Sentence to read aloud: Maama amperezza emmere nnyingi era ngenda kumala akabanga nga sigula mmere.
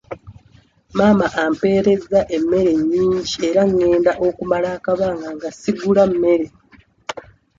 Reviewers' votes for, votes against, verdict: 0, 2, rejected